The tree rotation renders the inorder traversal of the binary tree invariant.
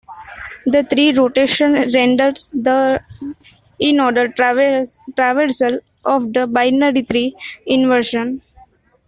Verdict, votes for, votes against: rejected, 1, 2